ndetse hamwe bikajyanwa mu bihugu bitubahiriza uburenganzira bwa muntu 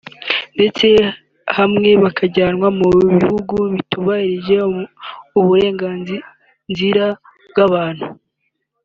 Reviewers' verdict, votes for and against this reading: accepted, 2, 1